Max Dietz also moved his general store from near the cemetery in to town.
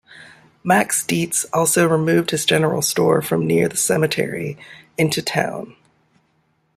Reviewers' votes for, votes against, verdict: 1, 2, rejected